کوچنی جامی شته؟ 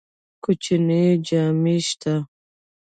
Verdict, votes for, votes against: accepted, 2, 0